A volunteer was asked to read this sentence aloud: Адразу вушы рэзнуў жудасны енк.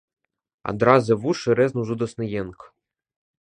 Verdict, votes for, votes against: accepted, 3, 0